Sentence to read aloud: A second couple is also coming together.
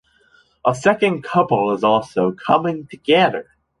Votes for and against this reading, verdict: 2, 0, accepted